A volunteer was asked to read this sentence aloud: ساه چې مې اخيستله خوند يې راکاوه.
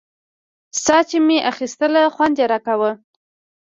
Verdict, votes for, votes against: rejected, 1, 2